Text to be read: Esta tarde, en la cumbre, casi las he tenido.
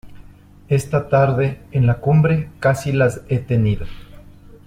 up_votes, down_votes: 2, 0